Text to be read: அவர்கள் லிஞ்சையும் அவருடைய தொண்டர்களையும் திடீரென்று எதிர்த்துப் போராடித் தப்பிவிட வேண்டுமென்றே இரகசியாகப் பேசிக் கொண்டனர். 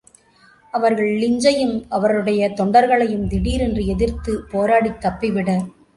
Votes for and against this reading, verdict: 0, 2, rejected